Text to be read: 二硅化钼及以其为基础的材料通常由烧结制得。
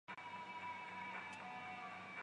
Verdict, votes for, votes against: rejected, 0, 2